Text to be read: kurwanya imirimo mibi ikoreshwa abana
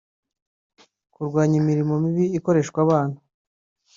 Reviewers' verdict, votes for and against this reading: accepted, 2, 0